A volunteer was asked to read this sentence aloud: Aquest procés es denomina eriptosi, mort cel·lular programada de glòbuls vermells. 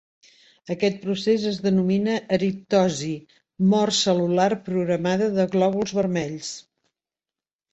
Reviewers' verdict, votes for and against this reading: accepted, 2, 0